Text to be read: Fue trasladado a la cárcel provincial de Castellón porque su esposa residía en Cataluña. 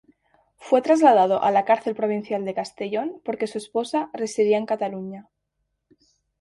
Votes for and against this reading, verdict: 2, 0, accepted